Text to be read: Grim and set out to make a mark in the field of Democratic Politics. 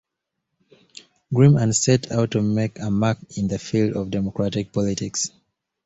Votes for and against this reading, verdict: 2, 0, accepted